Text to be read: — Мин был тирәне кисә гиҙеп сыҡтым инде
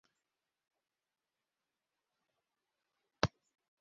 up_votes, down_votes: 0, 2